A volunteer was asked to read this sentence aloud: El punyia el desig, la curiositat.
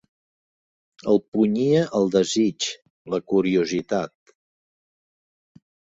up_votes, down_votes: 3, 0